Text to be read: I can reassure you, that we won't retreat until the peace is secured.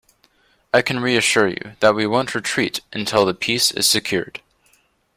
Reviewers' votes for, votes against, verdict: 2, 0, accepted